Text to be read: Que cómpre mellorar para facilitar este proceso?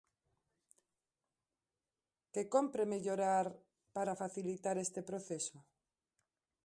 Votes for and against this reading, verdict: 2, 1, accepted